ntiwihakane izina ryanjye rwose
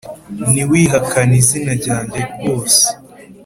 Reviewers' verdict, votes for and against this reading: accepted, 5, 0